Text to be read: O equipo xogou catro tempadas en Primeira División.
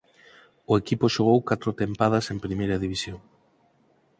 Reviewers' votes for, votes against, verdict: 4, 0, accepted